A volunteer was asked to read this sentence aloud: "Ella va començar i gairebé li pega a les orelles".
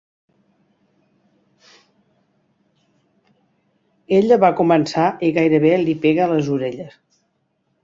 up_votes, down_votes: 2, 0